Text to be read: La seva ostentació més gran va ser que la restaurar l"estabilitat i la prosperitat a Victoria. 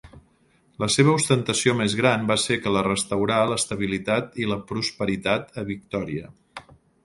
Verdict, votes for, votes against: accepted, 4, 0